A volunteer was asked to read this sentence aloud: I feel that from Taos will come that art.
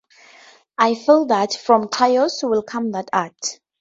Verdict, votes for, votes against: accepted, 4, 0